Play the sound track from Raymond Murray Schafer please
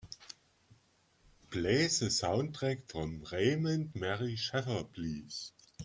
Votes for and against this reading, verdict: 3, 2, accepted